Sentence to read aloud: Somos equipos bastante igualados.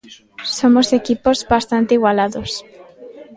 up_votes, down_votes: 2, 0